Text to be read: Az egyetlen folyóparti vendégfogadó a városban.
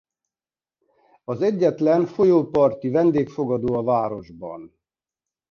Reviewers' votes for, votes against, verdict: 2, 0, accepted